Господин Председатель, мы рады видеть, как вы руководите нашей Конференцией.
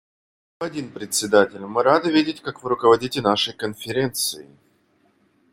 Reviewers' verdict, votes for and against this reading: rejected, 1, 2